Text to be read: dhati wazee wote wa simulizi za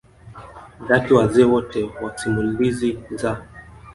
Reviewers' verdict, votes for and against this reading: accepted, 2, 1